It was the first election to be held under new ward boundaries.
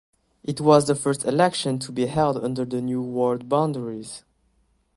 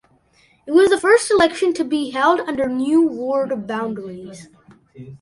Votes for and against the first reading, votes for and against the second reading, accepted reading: 0, 2, 2, 0, second